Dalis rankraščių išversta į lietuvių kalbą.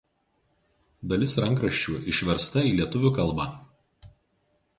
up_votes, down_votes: 2, 2